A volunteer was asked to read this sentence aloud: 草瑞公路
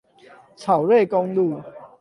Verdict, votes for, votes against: accepted, 8, 0